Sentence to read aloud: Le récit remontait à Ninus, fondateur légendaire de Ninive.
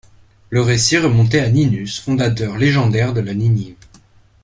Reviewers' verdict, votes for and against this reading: rejected, 1, 2